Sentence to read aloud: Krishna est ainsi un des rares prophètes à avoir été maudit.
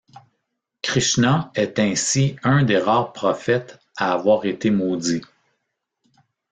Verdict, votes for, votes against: rejected, 1, 2